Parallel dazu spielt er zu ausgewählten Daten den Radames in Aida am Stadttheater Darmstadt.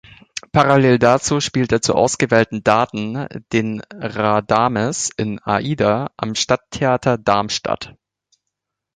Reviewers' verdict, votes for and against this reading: accepted, 2, 0